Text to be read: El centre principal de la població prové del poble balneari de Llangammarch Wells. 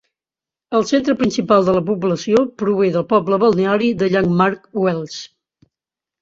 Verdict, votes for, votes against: rejected, 0, 2